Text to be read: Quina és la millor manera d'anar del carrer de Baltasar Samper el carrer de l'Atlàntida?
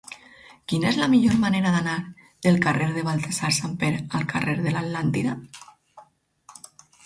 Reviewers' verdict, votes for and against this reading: accepted, 4, 0